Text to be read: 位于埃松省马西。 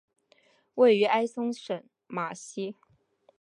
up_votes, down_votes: 4, 1